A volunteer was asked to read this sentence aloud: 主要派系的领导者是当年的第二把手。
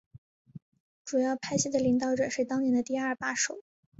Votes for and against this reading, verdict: 3, 0, accepted